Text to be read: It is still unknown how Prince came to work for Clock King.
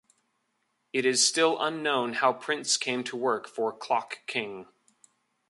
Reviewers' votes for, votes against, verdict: 2, 0, accepted